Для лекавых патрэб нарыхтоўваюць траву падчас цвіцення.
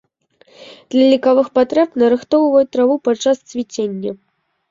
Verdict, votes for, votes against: accepted, 2, 0